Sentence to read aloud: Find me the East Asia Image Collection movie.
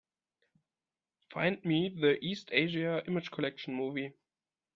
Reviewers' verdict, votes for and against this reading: accepted, 2, 1